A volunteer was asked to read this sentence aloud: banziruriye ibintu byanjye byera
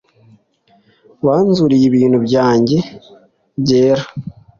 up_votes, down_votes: 2, 0